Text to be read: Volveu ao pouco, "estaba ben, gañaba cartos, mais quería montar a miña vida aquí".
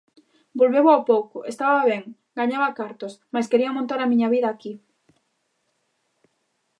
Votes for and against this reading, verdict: 2, 0, accepted